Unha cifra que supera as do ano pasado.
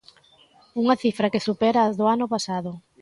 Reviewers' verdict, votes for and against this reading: accepted, 2, 0